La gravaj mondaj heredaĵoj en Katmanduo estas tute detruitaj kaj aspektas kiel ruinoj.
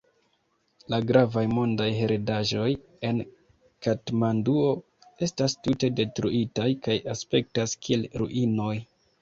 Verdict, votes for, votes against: accepted, 2, 0